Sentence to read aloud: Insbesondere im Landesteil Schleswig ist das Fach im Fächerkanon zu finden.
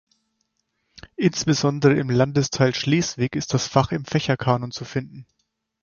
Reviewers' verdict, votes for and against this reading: accepted, 4, 0